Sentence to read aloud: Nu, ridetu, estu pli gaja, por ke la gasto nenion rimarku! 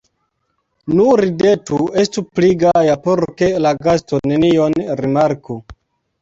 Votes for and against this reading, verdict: 1, 2, rejected